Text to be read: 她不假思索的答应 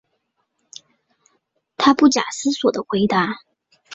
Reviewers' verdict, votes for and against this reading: rejected, 1, 2